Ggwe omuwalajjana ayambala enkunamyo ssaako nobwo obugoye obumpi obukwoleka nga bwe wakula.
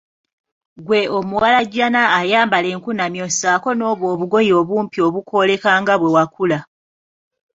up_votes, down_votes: 2, 1